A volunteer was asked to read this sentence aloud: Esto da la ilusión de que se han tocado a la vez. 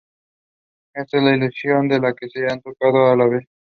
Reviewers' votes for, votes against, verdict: 0, 2, rejected